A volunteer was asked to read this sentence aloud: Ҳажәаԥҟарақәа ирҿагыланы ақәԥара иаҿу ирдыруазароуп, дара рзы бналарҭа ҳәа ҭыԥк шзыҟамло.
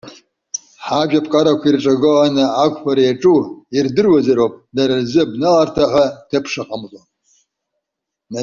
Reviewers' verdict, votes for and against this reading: rejected, 0, 2